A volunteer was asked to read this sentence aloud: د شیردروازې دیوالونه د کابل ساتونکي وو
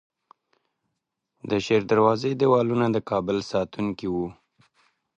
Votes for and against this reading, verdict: 2, 1, accepted